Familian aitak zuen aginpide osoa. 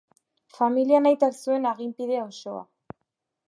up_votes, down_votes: 3, 0